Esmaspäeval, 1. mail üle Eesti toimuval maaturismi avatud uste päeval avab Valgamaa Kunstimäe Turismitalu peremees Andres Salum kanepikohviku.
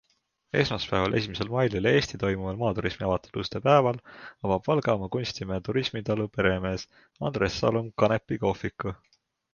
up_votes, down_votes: 0, 2